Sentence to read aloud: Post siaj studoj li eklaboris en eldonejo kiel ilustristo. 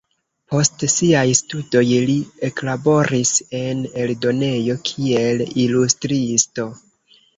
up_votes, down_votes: 1, 2